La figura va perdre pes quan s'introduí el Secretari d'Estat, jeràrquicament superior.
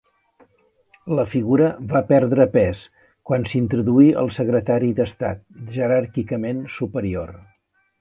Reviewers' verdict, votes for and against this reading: accepted, 2, 0